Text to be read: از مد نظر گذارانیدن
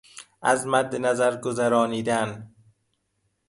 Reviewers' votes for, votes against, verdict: 2, 0, accepted